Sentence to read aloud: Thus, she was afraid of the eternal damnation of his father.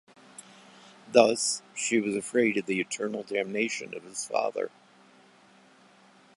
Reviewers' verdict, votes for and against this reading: accepted, 2, 0